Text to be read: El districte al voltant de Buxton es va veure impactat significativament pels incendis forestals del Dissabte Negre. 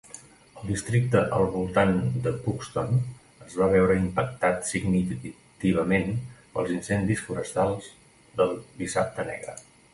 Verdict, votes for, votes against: rejected, 0, 2